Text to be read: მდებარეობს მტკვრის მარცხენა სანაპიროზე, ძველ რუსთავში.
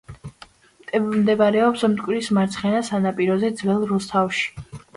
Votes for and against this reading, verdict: 2, 0, accepted